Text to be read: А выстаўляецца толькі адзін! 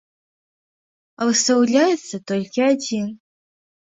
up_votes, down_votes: 2, 0